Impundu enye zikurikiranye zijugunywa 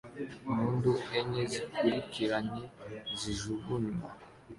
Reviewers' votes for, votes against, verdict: 2, 0, accepted